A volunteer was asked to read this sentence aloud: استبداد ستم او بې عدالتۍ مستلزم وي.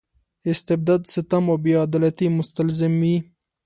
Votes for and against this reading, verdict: 2, 1, accepted